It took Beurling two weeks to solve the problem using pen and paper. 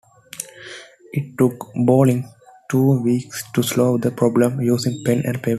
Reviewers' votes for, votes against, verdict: 2, 1, accepted